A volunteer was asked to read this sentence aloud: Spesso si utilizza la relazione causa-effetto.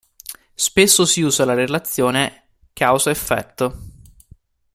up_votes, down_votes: 1, 2